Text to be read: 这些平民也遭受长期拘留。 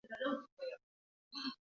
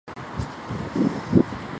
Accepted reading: second